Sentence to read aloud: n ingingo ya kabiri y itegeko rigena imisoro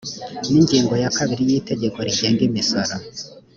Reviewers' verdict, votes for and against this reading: rejected, 1, 2